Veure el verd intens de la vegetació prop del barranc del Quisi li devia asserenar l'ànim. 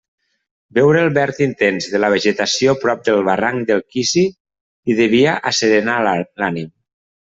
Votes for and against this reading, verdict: 0, 2, rejected